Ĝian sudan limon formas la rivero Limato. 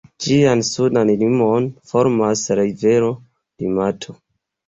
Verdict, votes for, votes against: accepted, 2, 1